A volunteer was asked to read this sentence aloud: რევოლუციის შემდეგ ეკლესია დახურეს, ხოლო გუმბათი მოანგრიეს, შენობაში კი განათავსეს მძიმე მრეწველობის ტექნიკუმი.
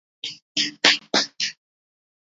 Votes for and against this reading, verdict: 1, 2, rejected